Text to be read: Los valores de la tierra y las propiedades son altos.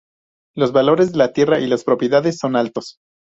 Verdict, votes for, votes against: accepted, 2, 0